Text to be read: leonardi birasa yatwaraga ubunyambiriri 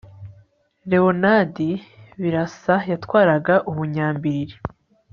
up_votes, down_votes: 2, 0